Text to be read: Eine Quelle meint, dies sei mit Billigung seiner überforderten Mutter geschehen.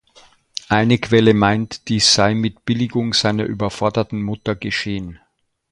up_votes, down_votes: 2, 0